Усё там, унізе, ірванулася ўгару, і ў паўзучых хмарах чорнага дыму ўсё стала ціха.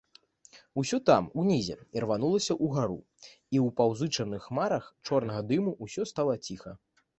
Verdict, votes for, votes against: rejected, 1, 2